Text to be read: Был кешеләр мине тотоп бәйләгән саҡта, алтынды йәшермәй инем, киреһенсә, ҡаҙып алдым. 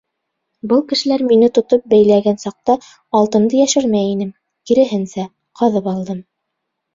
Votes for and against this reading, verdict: 2, 0, accepted